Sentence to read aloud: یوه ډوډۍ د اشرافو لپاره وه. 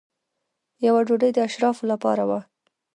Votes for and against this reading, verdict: 2, 1, accepted